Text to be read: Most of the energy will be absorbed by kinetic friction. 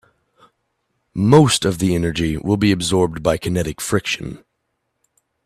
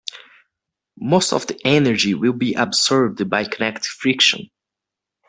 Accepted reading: first